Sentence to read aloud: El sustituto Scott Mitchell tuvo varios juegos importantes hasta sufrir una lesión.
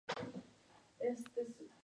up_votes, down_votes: 0, 2